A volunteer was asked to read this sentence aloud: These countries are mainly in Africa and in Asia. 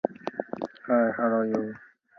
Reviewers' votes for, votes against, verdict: 0, 2, rejected